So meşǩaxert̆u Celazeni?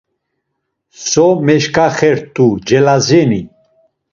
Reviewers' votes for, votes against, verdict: 2, 0, accepted